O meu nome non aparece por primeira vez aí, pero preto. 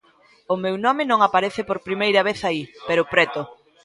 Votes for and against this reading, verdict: 2, 0, accepted